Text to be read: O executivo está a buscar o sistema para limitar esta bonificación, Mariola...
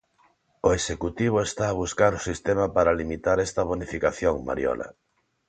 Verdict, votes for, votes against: accepted, 2, 0